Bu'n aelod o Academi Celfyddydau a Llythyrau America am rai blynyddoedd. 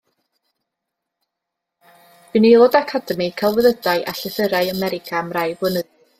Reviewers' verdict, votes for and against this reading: rejected, 0, 2